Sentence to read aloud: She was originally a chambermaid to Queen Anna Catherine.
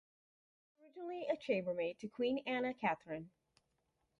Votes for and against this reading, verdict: 2, 2, rejected